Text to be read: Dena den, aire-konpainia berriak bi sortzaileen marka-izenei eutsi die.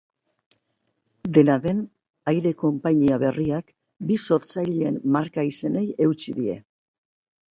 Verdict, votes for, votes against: accepted, 4, 0